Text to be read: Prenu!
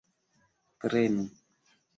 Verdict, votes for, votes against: accepted, 2, 0